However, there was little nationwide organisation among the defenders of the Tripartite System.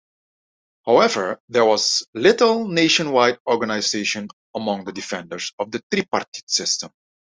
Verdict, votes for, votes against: rejected, 1, 2